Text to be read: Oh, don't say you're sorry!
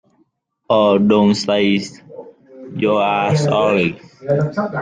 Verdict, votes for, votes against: rejected, 0, 2